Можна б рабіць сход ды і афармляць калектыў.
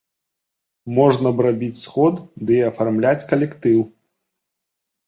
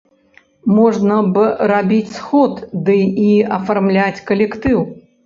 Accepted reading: first